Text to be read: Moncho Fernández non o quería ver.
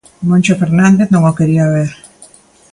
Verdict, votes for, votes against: accepted, 2, 0